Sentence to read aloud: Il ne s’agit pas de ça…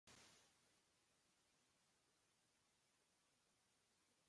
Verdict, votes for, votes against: rejected, 0, 2